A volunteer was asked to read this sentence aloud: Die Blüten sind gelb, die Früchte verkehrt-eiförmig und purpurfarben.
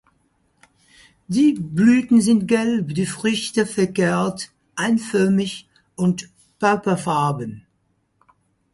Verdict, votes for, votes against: rejected, 0, 4